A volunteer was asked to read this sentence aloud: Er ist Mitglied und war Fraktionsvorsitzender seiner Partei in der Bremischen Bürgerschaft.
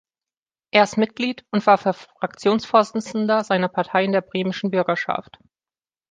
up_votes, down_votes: 0, 2